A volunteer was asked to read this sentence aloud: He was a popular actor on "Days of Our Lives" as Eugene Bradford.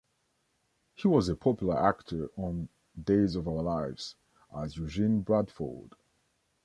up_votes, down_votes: 2, 0